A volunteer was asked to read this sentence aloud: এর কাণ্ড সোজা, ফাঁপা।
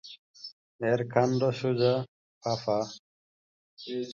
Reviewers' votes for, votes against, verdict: 0, 2, rejected